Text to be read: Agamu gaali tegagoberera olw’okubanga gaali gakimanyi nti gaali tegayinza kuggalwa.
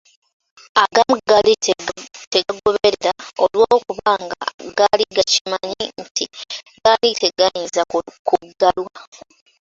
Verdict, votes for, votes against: rejected, 0, 2